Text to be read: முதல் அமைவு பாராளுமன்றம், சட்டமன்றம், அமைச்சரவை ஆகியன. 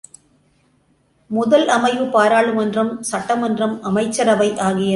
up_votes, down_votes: 1, 2